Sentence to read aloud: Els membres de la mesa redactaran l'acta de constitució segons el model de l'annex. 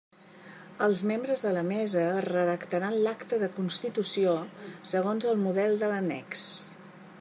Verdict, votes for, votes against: accepted, 2, 0